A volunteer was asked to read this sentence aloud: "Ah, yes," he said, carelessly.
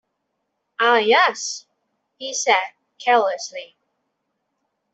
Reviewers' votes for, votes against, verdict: 2, 0, accepted